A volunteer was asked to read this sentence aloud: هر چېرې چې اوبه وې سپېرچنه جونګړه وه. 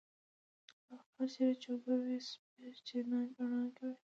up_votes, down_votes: 1, 2